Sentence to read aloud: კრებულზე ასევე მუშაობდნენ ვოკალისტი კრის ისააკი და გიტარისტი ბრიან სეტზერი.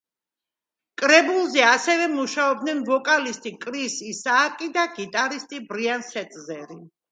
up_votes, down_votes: 2, 0